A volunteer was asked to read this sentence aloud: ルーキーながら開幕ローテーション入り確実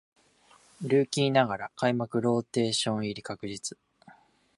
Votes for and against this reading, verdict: 3, 0, accepted